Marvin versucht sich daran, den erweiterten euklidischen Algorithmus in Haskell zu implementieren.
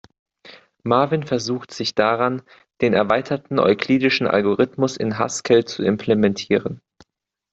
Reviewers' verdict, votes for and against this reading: accepted, 2, 0